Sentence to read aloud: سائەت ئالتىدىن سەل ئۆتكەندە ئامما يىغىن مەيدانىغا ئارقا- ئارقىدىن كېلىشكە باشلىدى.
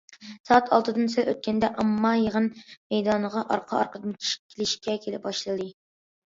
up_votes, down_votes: 0, 2